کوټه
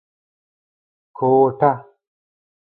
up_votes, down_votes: 0, 2